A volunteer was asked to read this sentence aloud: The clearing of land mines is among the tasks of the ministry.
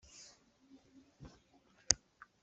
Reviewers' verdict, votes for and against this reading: rejected, 0, 2